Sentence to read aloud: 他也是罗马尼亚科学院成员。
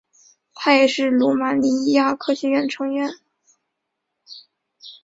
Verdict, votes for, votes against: accepted, 2, 0